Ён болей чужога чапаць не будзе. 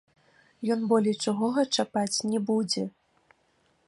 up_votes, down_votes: 0, 2